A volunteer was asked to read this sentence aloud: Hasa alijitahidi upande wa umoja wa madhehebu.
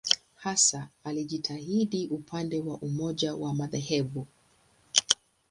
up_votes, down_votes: 2, 0